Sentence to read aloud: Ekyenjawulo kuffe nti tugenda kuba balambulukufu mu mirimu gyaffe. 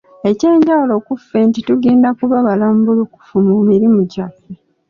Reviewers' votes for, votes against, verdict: 2, 0, accepted